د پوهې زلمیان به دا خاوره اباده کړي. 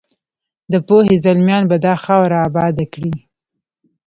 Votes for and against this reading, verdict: 1, 2, rejected